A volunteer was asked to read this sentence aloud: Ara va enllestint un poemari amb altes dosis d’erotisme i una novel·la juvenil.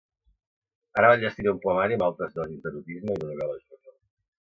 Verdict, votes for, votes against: rejected, 1, 2